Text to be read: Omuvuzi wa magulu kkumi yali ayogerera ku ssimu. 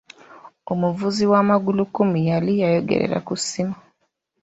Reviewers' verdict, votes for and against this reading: rejected, 1, 2